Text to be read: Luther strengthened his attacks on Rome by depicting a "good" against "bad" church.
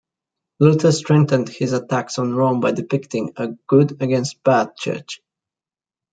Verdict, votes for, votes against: accepted, 2, 0